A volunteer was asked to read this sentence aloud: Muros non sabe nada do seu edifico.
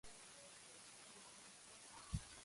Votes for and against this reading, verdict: 0, 3, rejected